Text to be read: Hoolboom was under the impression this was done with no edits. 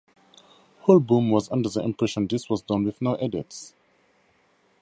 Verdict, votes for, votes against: accepted, 2, 0